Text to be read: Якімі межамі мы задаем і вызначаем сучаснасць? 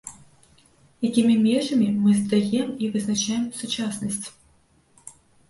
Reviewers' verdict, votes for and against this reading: rejected, 1, 2